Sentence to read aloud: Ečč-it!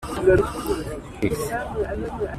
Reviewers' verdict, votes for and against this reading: rejected, 0, 2